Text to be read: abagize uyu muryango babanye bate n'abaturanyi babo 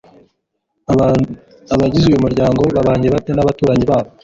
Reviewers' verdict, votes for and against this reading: rejected, 1, 2